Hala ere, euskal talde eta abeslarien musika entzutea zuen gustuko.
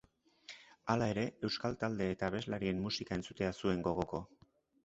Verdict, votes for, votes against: rejected, 0, 2